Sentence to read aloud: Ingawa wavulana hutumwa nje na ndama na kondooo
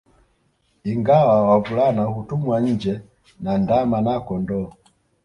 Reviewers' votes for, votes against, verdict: 2, 0, accepted